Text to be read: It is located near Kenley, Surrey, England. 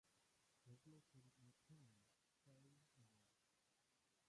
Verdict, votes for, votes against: rejected, 0, 2